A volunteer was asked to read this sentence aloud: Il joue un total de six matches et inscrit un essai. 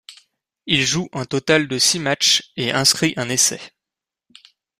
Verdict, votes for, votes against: accepted, 2, 0